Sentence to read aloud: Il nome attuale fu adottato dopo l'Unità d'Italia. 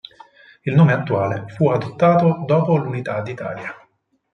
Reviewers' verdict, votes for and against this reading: accepted, 4, 0